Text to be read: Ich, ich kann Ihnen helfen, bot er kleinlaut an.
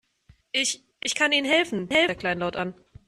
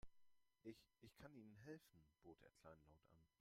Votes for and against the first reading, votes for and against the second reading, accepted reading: 0, 2, 2, 1, second